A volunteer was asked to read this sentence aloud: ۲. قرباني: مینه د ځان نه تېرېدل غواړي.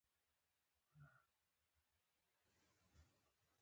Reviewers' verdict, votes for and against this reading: rejected, 0, 2